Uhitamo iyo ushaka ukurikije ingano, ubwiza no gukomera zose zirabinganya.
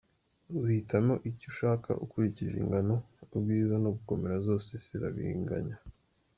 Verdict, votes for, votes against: accepted, 2, 0